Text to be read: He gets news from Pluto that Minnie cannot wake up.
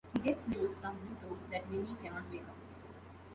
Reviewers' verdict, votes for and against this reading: rejected, 0, 2